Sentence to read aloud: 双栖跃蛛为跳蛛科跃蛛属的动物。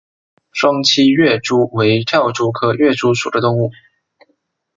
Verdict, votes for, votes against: accepted, 2, 0